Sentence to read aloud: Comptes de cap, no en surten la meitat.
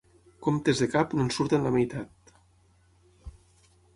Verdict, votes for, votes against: accepted, 12, 0